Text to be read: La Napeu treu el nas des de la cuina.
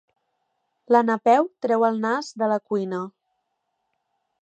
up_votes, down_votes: 0, 2